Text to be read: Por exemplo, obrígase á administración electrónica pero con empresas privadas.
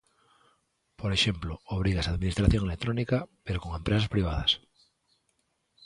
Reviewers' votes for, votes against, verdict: 2, 0, accepted